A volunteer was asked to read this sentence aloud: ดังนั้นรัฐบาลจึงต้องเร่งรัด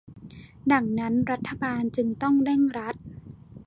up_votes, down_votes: 1, 2